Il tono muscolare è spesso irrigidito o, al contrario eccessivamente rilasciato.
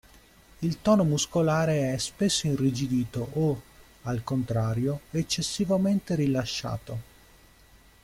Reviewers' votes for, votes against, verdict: 2, 0, accepted